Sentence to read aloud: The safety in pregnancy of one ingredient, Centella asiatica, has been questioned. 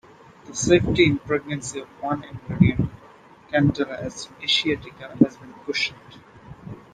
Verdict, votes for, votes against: rejected, 0, 2